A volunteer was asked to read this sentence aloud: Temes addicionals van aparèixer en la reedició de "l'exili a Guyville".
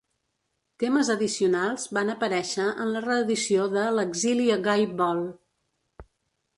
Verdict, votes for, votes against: rejected, 1, 2